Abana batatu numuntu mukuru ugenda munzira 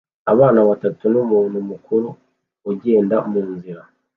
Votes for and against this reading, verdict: 2, 0, accepted